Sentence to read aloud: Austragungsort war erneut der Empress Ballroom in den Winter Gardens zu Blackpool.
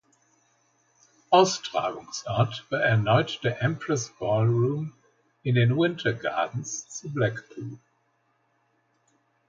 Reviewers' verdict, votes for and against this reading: accepted, 2, 0